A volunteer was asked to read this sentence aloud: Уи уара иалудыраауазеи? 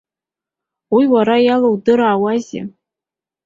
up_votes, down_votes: 1, 2